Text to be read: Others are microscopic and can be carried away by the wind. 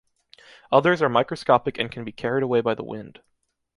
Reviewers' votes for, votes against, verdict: 2, 0, accepted